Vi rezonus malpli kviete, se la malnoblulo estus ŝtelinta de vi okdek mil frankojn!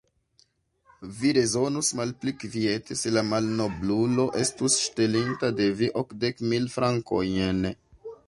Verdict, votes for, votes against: rejected, 0, 2